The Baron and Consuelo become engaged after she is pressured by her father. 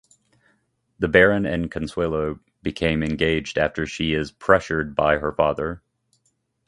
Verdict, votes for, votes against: accepted, 2, 1